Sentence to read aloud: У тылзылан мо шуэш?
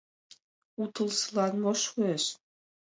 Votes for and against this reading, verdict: 2, 0, accepted